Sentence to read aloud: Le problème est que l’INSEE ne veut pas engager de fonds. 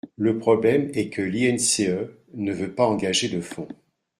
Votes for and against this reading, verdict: 0, 2, rejected